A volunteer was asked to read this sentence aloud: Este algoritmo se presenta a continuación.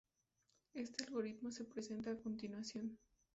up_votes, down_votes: 2, 0